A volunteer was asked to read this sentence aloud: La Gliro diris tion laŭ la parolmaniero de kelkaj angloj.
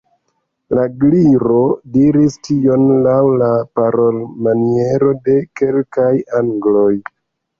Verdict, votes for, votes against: rejected, 1, 2